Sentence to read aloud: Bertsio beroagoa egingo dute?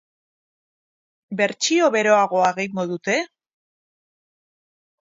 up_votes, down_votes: 0, 2